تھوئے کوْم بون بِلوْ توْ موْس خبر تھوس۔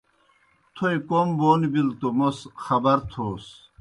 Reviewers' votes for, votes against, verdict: 2, 0, accepted